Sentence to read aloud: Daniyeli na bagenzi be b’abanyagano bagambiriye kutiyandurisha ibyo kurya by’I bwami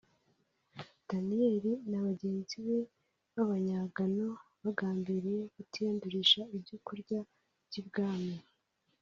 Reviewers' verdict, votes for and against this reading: accepted, 2, 0